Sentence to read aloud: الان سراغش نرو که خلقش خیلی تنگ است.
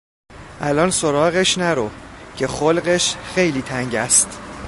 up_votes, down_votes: 2, 0